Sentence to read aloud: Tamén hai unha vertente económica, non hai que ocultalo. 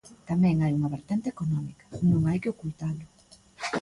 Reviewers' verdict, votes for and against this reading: accepted, 2, 1